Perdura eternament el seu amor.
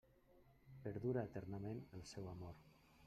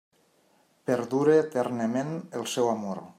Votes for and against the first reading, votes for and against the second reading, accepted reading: 0, 2, 2, 0, second